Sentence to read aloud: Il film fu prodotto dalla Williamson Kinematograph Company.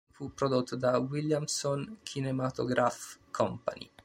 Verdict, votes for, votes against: rejected, 0, 2